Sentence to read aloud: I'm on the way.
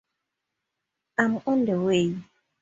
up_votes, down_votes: 2, 0